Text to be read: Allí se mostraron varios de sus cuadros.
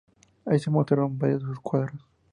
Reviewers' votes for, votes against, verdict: 2, 0, accepted